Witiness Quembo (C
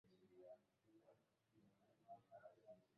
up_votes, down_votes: 0, 2